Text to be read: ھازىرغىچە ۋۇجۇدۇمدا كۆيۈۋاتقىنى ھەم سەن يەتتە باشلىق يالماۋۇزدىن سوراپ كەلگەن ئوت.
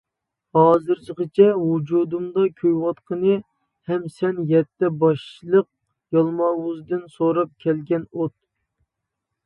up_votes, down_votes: 1, 2